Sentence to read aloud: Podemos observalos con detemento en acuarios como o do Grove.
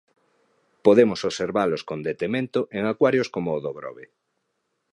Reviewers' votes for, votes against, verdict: 2, 0, accepted